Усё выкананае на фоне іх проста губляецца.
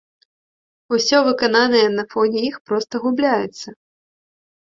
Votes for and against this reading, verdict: 0, 2, rejected